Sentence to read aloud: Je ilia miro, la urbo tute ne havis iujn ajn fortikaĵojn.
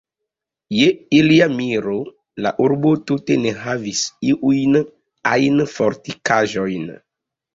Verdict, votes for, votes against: accepted, 2, 0